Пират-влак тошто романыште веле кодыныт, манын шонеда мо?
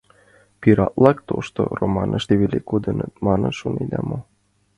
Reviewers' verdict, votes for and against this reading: accepted, 2, 0